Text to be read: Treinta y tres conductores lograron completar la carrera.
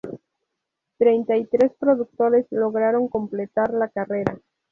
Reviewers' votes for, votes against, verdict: 2, 2, rejected